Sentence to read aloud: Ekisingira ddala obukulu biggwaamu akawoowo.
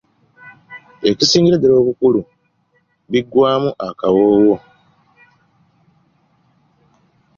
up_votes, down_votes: 3, 0